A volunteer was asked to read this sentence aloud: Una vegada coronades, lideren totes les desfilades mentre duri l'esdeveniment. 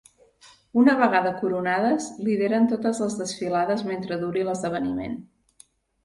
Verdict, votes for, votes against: accepted, 3, 0